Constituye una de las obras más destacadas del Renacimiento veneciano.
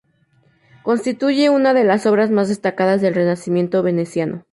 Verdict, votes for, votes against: rejected, 0, 2